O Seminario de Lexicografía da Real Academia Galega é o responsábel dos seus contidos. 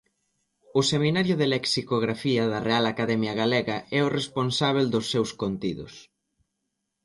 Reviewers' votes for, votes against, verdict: 2, 0, accepted